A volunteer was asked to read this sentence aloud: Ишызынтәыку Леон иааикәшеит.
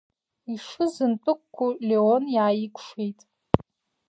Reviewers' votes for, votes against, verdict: 2, 1, accepted